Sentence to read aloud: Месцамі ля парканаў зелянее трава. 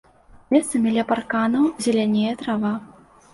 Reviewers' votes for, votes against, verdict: 2, 0, accepted